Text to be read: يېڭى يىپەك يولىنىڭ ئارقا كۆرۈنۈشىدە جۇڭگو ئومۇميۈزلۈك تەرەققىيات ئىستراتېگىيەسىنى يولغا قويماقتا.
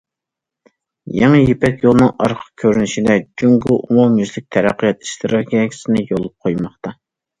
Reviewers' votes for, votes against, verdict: 2, 0, accepted